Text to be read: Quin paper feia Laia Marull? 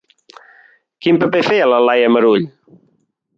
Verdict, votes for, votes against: rejected, 0, 2